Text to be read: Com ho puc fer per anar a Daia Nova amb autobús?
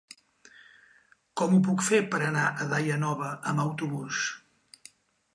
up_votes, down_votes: 3, 0